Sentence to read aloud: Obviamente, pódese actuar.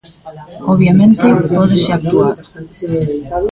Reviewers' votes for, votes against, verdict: 1, 3, rejected